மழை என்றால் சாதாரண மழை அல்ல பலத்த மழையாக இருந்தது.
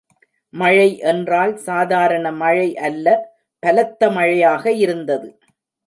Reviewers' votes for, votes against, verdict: 2, 0, accepted